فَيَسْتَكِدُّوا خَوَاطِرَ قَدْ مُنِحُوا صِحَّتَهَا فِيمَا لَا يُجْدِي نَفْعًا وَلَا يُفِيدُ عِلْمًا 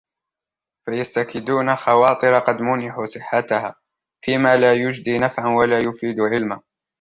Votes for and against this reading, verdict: 1, 2, rejected